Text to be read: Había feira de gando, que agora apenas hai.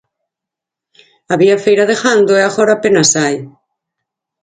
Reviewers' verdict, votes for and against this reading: accepted, 4, 2